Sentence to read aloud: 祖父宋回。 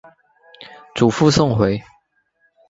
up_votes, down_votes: 2, 0